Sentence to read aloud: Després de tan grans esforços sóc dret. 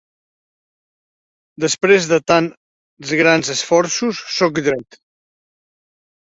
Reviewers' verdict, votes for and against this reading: accepted, 2, 0